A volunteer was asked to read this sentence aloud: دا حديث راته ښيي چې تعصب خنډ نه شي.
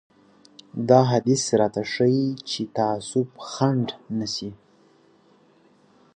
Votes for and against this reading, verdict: 2, 0, accepted